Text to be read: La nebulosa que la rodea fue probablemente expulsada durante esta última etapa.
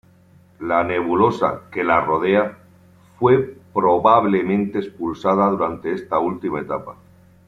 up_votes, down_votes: 3, 0